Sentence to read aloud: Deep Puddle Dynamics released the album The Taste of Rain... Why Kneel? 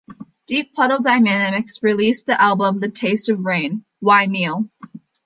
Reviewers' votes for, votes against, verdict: 2, 0, accepted